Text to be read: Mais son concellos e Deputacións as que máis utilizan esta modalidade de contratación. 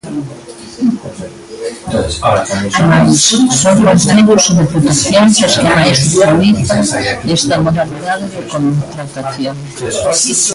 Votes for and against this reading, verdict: 0, 2, rejected